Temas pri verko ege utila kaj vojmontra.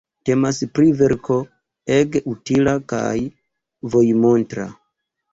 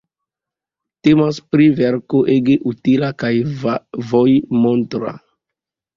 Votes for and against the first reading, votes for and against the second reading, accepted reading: 1, 2, 2, 1, second